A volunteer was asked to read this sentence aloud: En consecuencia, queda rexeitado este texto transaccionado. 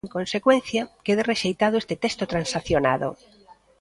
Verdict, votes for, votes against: rejected, 1, 2